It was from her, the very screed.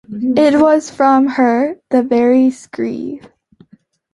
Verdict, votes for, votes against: accepted, 2, 0